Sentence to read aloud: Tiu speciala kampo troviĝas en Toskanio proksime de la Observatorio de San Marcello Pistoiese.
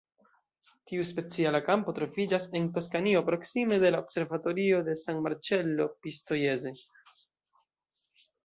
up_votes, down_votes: 1, 2